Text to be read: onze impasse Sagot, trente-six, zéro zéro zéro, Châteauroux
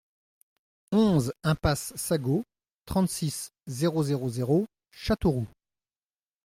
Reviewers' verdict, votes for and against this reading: accepted, 2, 0